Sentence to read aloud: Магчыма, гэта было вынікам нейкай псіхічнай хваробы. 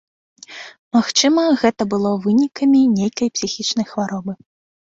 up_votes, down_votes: 0, 2